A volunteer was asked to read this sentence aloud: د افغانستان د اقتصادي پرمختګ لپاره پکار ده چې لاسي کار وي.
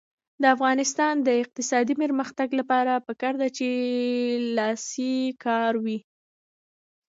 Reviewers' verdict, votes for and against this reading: accepted, 2, 0